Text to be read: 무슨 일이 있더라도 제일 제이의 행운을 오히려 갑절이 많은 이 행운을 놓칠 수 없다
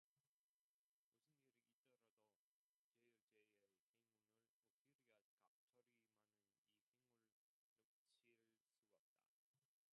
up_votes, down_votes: 1, 2